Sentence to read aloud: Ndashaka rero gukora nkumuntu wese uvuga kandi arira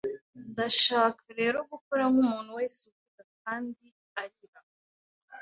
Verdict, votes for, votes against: rejected, 0, 2